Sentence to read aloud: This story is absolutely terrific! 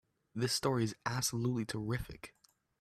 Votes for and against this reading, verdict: 2, 1, accepted